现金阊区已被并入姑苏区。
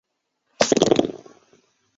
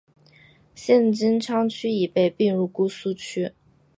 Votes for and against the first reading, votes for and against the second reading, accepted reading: 0, 3, 2, 1, second